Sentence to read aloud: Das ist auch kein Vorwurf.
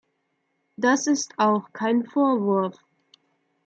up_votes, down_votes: 2, 0